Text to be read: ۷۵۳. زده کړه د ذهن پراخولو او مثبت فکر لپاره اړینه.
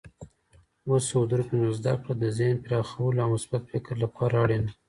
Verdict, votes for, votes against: rejected, 0, 2